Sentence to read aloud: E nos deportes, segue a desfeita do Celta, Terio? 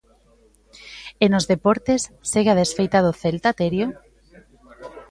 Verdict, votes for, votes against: accepted, 2, 1